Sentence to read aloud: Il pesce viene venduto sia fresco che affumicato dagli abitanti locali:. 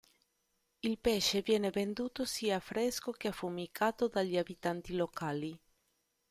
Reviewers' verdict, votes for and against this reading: accepted, 2, 0